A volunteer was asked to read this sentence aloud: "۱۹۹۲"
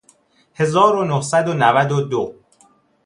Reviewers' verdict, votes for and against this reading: rejected, 0, 2